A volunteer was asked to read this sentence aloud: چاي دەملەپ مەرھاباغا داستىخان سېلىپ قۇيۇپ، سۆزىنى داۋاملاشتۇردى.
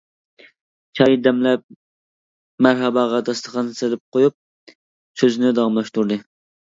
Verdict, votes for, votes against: rejected, 0, 2